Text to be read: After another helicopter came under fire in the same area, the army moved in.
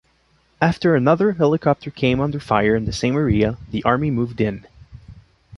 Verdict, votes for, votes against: rejected, 1, 2